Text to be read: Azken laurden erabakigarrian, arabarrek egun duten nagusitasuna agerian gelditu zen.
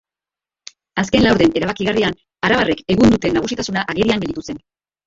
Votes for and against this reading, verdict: 1, 2, rejected